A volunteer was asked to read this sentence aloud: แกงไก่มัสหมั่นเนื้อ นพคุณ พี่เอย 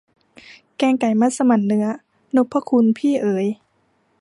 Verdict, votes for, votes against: rejected, 1, 2